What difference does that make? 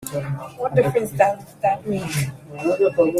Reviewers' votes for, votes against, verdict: 3, 9, rejected